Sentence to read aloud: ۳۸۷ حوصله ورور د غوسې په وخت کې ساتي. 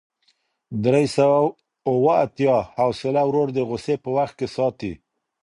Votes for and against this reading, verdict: 0, 2, rejected